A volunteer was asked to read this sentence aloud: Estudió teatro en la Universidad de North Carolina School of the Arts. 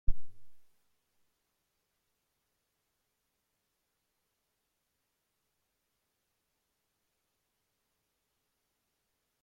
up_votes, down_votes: 0, 2